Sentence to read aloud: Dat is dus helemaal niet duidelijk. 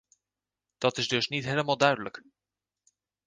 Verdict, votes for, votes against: rejected, 0, 2